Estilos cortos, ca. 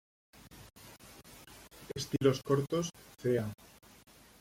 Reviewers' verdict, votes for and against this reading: rejected, 0, 2